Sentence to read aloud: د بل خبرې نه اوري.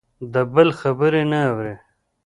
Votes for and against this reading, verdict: 0, 2, rejected